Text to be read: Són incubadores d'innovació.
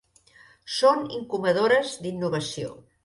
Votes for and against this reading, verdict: 3, 0, accepted